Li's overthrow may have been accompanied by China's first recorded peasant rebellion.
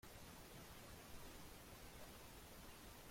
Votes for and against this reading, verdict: 0, 2, rejected